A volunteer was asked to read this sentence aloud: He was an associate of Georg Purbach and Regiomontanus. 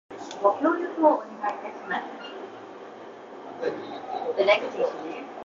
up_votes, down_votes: 0, 2